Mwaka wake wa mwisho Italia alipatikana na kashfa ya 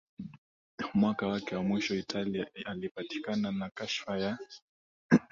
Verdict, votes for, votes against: accepted, 2, 0